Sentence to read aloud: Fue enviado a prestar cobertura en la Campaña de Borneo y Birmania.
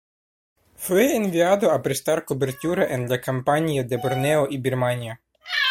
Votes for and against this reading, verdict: 2, 0, accepted